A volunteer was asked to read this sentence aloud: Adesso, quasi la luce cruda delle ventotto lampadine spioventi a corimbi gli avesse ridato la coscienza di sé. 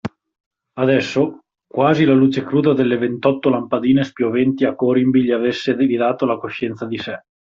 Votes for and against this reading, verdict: 1, 2, rejected